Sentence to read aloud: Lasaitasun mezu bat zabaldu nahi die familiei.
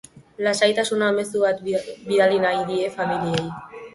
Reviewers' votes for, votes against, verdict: 0, 3, rejected